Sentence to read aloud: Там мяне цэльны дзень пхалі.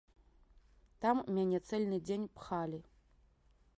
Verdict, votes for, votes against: rejected, 1, 2